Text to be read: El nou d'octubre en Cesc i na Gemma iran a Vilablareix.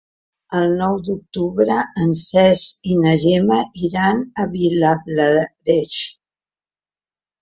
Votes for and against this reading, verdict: 2, 0, accepted